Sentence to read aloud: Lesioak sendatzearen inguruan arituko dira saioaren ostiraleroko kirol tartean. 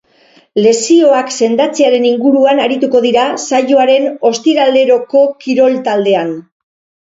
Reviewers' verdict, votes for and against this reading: rejected, 0, 4